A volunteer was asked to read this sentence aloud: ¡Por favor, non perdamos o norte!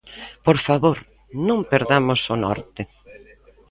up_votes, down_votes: 2, 0